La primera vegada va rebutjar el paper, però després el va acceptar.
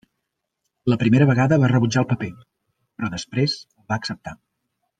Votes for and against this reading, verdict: 0, 2, rejected